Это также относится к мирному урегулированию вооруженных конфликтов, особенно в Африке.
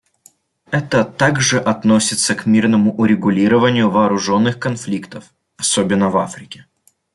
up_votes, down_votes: 2, 1